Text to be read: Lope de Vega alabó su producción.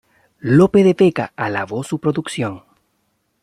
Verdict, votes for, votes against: accepted, 2, 0